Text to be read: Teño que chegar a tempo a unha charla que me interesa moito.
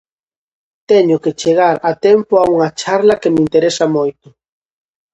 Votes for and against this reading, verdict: 2, 0, accepted